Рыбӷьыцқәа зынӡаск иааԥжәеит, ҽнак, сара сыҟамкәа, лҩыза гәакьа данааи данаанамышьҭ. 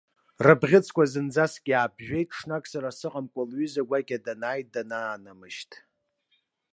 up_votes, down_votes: 2, 0